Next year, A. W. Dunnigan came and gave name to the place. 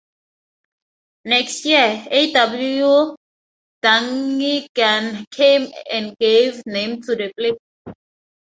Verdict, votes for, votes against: rejected, 0, 4